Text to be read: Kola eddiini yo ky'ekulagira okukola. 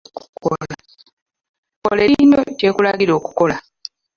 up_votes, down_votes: 0, 2